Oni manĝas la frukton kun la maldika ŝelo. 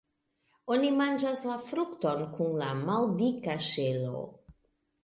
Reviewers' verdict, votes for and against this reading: accepted, 2, 1